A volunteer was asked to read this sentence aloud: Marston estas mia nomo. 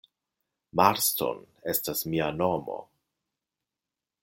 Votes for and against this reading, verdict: 2, 0, accepted